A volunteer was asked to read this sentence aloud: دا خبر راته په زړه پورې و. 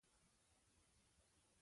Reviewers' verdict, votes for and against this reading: rejected, 0, 2